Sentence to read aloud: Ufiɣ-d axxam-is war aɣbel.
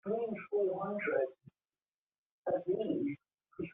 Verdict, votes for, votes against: rejected, 0, 2